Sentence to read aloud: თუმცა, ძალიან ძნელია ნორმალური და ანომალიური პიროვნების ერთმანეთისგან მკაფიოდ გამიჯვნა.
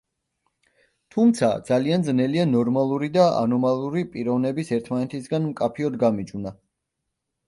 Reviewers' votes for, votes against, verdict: 0, 2, rejected